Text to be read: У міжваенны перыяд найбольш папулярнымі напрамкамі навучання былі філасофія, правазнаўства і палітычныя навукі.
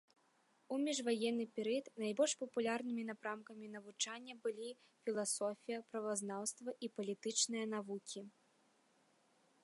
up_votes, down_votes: 2, 0